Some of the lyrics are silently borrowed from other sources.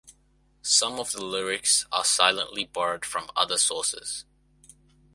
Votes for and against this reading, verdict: 2, 1, accepted